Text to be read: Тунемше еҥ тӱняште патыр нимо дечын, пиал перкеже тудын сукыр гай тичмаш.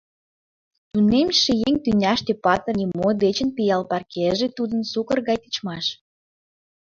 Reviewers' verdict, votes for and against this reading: rejected, 0, 2